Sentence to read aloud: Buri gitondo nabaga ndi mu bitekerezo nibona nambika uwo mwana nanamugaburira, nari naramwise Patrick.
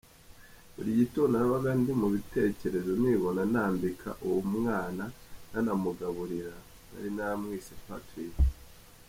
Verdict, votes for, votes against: accepted, 2, 0